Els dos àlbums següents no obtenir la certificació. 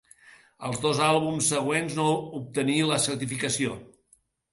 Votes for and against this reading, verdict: 2, 0, accepted